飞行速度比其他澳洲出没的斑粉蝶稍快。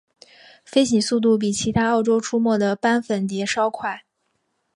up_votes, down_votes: 3, 1